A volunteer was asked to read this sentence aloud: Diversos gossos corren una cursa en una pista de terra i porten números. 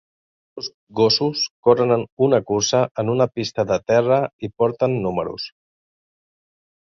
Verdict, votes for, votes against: rejected, 0, 3